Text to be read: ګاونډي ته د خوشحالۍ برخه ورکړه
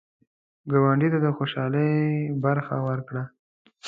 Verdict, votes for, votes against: accepted, 2, 1